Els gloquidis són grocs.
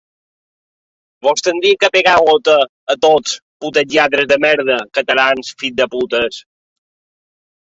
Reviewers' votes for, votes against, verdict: 0, 2, rejected